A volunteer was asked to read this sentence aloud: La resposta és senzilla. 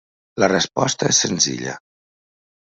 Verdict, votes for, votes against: accepted, 3, 0